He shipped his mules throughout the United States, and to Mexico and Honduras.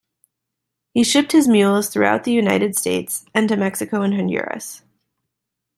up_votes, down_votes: 2, 0